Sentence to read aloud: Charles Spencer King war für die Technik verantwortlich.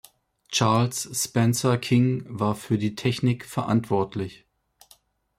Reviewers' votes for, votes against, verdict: 2, 0, accepted